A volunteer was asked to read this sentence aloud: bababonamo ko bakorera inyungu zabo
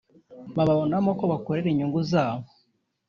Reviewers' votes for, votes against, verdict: 0, 2, rejected